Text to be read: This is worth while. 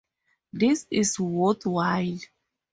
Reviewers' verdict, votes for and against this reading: accepted, 2, 0